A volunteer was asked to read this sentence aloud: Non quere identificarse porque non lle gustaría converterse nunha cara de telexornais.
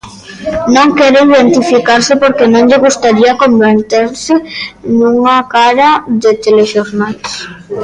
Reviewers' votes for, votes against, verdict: 0, 2, rejected